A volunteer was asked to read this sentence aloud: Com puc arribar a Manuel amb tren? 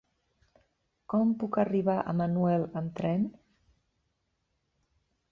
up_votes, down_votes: 1, 2